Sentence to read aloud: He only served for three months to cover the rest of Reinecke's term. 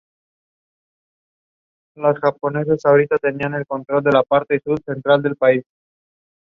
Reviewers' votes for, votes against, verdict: 0, 2, rejected